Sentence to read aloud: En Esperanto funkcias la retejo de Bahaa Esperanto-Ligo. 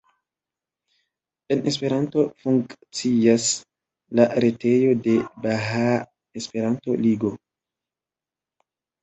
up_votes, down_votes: 2, 0